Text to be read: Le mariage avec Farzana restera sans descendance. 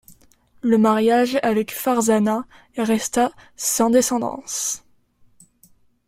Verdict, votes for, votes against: rejected, 0, 2